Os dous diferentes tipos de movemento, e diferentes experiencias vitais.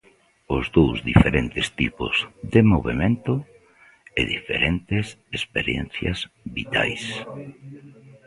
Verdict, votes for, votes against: rejected, 0, 2